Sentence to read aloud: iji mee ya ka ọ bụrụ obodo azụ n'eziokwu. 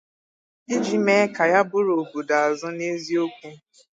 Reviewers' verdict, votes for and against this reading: rejected, 2, 2